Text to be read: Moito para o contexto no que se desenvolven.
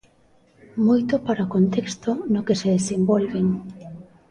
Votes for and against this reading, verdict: 2, 0, accepted